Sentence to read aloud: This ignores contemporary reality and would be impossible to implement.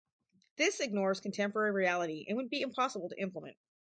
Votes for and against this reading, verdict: 4, 0, accepted